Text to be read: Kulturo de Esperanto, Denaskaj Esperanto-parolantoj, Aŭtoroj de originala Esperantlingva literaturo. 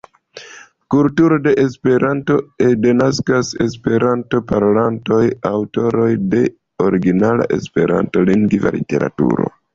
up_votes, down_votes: 0, 2